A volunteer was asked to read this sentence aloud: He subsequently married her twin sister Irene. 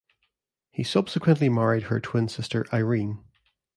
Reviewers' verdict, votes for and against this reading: accepted, 2, 0